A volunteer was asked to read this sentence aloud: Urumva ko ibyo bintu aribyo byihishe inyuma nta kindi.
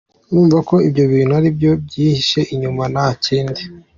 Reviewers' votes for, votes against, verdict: 2, 1, accepted